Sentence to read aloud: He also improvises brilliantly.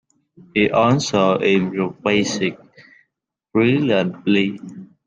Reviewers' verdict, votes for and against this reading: rejected, 0, 2